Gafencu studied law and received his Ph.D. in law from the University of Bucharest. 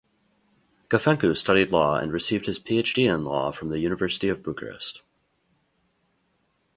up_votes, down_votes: 4, 0